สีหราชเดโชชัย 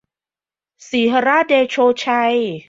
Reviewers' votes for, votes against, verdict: 2, 0, accepted